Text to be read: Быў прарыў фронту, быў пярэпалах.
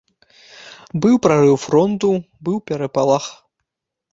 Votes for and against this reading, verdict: 0, 3, rejected